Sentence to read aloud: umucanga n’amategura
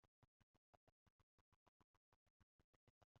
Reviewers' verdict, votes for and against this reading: rejected, 1, 2